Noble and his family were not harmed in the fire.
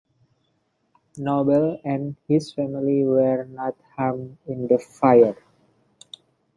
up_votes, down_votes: 2, 0